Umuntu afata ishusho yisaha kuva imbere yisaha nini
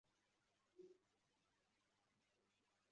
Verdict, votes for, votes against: rejected, 0, 2